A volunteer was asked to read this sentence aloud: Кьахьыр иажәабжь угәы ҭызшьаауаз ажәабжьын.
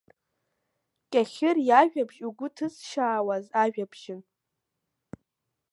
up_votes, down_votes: 0, 2